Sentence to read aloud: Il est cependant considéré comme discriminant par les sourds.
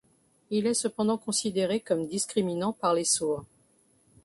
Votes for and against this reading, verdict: 2, 0, accepted